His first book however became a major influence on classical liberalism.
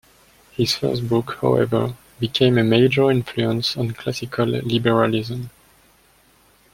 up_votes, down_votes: 0, 2